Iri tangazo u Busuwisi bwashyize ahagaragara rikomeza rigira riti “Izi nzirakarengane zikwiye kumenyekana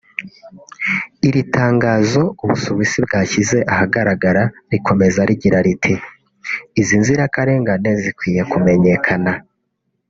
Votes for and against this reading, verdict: 2, 0, accepted